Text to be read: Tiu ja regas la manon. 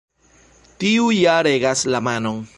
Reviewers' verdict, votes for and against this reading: accepted, 2, 0